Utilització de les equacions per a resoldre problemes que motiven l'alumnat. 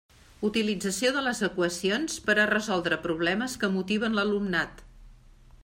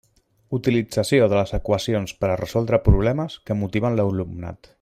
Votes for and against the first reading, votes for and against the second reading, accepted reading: 3, 0, 1, 2, first